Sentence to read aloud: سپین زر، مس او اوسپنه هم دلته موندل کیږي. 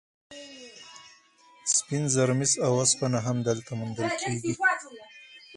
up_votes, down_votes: 2, 4